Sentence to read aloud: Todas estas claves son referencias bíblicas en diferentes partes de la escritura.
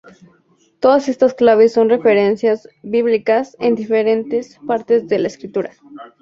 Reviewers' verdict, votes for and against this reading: rejected, 0, 2